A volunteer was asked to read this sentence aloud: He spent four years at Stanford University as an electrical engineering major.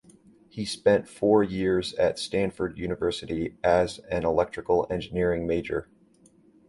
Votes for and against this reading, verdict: 2, 0, accepted